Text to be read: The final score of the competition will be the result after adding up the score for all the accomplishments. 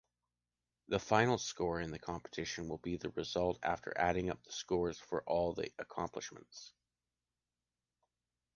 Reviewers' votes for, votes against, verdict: 2, 0, accepted